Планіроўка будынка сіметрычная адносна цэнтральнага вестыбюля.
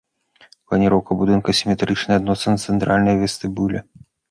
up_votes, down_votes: 0, 2